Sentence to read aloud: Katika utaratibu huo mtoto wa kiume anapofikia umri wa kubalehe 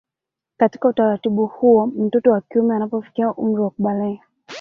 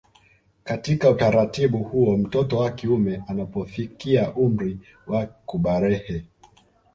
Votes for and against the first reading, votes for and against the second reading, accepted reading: 2, 1, 0, 2, first